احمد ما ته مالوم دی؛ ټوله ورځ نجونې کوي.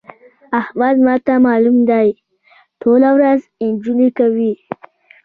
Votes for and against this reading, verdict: 2, 0, accepted